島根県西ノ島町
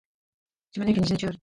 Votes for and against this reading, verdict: 1, 2, rejected